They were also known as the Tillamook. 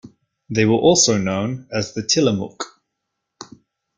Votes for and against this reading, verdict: 2, 0, accepted